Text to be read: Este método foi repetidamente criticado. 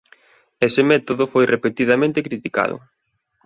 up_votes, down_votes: 0, 2